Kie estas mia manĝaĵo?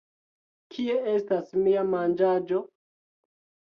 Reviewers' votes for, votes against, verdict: 2, 1, accepted